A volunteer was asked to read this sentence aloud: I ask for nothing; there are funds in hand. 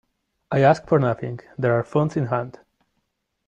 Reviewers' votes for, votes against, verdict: 2, 1, accepted